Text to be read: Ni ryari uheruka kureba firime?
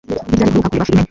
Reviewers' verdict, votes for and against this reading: rejected, 0, 2